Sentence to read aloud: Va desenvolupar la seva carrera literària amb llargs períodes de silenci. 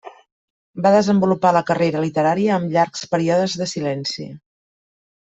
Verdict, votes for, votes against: rejected, 1, 2